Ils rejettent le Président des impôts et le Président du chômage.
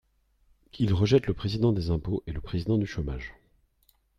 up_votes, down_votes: 3, 0